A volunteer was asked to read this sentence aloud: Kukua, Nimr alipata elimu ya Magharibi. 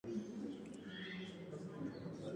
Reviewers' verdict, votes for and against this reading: rejected, 0, 2